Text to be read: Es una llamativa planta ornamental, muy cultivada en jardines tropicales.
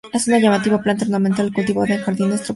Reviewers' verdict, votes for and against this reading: rejected, 0, 2